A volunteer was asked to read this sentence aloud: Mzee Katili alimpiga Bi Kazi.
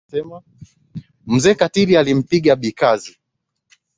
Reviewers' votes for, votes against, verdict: 3, 0, accepted